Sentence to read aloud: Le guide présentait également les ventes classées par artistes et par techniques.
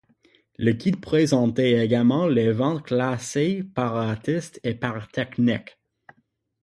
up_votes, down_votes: 6, 0